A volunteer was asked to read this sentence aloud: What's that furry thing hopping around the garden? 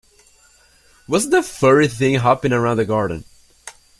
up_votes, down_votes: 2, 0